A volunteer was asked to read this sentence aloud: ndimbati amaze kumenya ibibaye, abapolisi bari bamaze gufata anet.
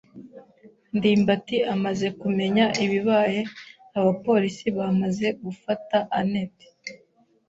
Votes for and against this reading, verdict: 0, 2, rejected